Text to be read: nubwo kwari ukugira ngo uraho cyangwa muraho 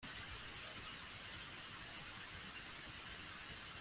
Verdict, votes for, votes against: rejected, 0, 2